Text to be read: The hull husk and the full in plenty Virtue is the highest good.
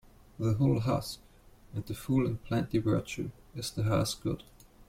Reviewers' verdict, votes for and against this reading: rejected, 1, 2